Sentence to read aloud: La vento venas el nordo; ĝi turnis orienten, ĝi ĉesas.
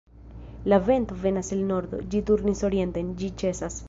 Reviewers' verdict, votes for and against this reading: rejected, 1, 2